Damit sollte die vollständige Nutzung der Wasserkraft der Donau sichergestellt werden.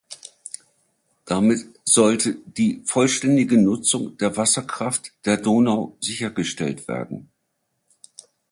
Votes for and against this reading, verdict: 2, 0, accepted